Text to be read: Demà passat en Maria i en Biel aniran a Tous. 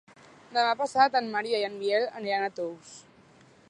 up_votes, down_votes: 3, 0